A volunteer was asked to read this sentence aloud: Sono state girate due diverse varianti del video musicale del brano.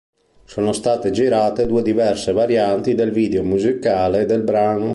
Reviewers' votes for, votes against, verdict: 4, 0, accepted